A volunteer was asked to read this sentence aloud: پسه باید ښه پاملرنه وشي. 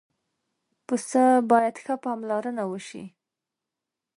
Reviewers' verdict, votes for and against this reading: accepted, 4, 0